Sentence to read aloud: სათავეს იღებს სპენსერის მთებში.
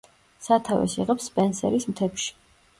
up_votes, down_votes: 2, 0